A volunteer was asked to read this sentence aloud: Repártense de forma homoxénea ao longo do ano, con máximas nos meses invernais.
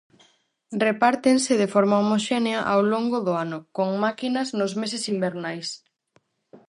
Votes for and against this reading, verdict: 0, 4, rejected